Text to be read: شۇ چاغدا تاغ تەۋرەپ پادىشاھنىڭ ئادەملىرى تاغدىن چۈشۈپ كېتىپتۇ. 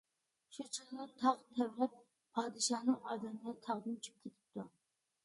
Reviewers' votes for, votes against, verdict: 1, 2, rejected